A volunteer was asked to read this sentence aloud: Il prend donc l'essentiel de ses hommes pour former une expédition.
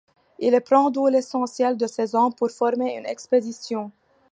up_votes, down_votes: 1, 2